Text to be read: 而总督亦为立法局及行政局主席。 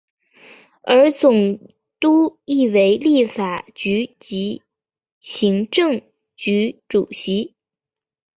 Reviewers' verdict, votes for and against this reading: rejected, 0, 2